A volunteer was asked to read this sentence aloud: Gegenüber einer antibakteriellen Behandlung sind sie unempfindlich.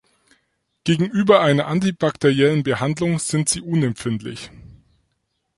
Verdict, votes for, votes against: accepted, 4, 0